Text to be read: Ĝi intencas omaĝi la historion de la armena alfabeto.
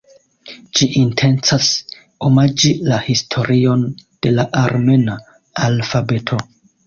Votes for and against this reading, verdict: 2, 0, accepted